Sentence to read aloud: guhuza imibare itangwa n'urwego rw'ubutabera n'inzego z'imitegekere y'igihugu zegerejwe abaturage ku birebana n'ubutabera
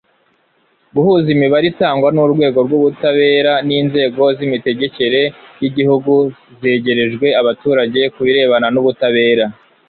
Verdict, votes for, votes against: rejected, 0, 2